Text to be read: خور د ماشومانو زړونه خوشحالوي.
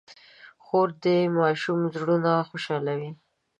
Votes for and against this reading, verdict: 2, 1, accepted